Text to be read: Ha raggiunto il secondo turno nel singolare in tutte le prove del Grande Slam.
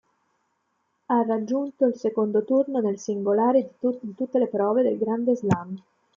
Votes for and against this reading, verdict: 1, 2, rejected